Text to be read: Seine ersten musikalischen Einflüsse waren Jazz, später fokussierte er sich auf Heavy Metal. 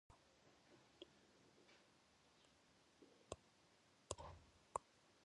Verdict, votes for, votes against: rejected, 0, 2